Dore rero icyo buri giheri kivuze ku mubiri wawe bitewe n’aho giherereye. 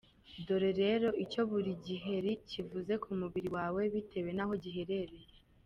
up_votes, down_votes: 1, 2